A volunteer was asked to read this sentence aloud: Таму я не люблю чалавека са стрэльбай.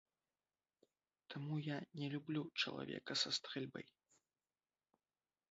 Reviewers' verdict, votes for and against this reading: rejected, 0, 3